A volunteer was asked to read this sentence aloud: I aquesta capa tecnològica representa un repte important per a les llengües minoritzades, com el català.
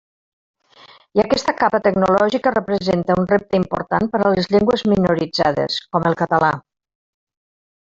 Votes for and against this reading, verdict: 0, 2, rejected